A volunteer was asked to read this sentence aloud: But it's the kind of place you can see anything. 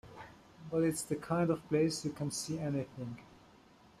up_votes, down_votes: 2, 0